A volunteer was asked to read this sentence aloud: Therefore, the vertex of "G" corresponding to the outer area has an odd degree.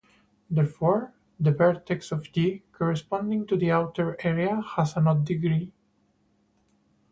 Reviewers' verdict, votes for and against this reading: rejected, 2, 2